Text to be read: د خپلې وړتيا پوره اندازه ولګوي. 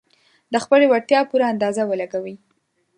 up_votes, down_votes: 11, 0